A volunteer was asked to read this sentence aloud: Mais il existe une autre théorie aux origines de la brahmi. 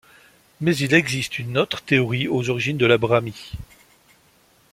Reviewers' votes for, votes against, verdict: 2, 0, accepted